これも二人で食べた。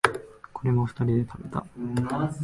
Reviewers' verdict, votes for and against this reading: rejected, 1, 2